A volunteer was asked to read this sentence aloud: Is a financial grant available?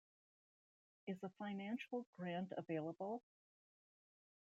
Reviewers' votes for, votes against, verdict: 1, 2, rejected